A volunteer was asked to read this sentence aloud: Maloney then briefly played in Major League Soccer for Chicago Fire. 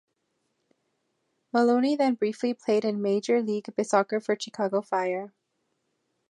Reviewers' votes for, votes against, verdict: 1, 2, rejected